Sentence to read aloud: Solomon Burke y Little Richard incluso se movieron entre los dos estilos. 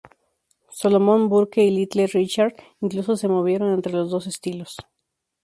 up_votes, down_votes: 2, 0